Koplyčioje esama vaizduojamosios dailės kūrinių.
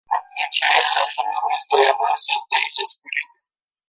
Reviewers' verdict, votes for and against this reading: rejected, 0, 2